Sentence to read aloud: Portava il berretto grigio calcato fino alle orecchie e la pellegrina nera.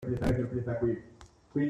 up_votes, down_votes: 0, 2